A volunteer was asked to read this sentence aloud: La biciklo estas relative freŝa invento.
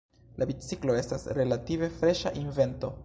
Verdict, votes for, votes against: accepted, 2, 0